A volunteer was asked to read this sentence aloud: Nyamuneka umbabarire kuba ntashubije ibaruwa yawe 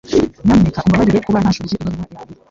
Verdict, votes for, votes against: accepted, 2, 1